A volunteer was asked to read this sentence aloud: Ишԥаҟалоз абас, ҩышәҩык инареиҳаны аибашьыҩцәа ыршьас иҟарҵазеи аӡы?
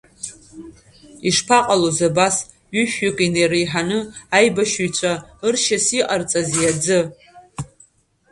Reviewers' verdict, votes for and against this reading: accepted, 2, 1